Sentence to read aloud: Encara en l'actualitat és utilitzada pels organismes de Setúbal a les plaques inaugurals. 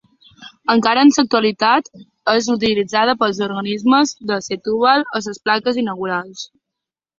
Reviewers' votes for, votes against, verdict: 1, 2, rejected